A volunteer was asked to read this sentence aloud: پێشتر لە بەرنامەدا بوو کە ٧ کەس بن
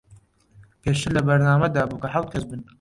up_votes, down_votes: 0, 2